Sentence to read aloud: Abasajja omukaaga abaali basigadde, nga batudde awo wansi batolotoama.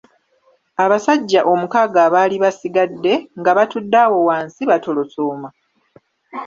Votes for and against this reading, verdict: 1, 2, rejected